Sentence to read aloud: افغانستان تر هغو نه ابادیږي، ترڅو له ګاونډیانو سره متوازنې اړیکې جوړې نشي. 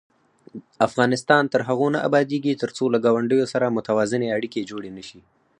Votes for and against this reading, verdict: 2, 4, rejected